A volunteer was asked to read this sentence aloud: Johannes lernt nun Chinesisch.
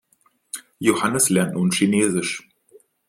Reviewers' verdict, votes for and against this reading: accepted, 2, 0